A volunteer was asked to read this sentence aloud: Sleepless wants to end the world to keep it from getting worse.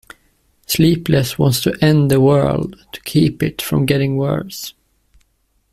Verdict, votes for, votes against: accepted, 2, 0